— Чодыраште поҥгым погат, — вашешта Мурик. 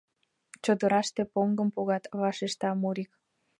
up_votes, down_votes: 2, 0